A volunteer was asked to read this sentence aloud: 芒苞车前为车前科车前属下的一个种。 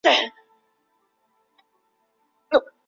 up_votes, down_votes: 0, 3